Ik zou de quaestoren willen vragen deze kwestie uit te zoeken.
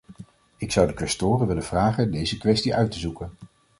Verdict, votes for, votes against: accepted, 2, 0